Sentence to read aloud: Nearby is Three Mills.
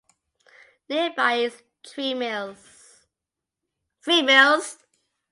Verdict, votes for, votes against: rejected, 0, 2